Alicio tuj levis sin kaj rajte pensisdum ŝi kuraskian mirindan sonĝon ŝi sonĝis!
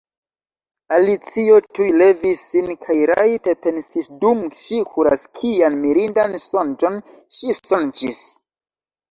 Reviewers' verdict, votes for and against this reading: rejected, 0, 3